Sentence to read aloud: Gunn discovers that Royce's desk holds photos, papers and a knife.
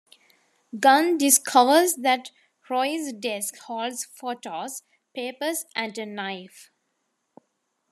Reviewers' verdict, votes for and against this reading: rejected, 0, 2